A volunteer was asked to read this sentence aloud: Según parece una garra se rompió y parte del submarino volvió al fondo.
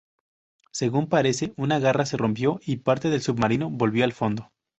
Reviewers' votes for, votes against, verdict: 2, 0, accepted